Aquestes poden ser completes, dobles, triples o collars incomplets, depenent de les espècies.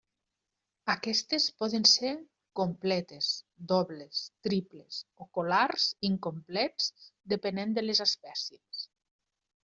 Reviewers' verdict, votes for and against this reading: rejected, 0, 2